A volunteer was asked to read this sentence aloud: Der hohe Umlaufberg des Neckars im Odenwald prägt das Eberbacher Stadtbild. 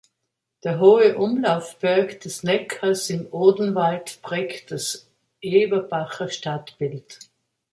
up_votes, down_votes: 2, 0